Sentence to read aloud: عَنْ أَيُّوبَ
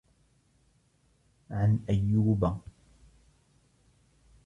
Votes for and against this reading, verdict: 0, 2, rejected